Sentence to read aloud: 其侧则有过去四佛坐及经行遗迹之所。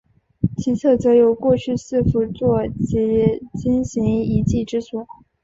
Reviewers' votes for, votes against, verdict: 3, 0, accepted